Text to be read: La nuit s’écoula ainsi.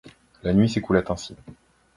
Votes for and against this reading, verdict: 2, 0, accepted